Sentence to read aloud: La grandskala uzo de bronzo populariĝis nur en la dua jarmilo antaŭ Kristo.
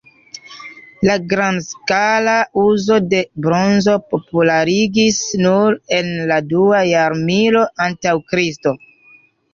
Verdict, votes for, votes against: rejected, 1, 2